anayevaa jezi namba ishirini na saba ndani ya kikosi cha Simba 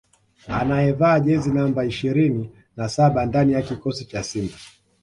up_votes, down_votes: 2, 0